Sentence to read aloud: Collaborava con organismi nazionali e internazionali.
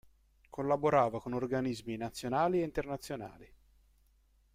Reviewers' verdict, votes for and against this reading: accepted, 2, 0